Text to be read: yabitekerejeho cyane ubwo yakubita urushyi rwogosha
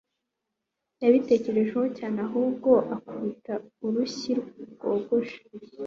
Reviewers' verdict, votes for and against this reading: accepted, 2, 0